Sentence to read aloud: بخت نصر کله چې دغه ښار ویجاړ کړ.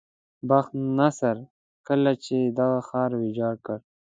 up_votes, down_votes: 2, 0